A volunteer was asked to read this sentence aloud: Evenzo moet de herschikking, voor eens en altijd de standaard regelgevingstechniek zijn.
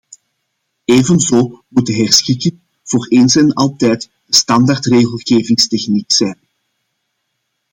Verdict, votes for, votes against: accepted, 2, 0